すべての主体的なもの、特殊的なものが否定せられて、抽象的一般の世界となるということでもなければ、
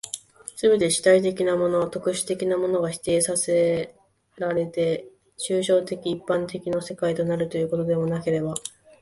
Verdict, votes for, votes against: rejected, 2, 3